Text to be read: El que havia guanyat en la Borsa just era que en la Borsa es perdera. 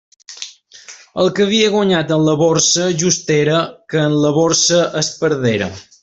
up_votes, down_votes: 3, 1